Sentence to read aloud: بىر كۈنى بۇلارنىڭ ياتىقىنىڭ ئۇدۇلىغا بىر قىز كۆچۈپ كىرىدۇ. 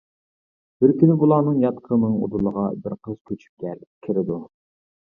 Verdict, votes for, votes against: rejected, 0, 2